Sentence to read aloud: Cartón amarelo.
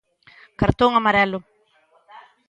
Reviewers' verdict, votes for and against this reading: accepted, 2, 0